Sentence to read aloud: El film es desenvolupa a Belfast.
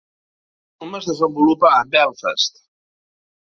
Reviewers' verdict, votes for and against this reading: rejected, 0, 2